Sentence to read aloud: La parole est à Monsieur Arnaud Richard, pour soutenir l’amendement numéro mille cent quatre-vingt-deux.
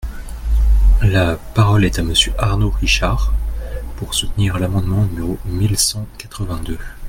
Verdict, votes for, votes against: accepted, 2, 0